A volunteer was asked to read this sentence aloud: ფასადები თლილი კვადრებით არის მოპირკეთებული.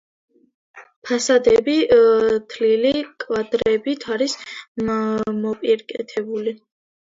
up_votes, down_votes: 1, 2